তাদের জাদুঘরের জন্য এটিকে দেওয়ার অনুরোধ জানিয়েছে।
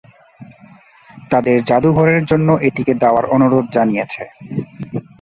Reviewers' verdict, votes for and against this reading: rejected, 0, 4